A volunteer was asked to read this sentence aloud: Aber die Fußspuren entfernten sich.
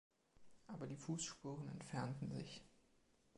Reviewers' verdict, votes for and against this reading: accepted, 2, 1